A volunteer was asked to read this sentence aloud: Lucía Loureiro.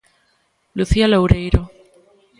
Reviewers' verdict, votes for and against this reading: accepted, 2, 0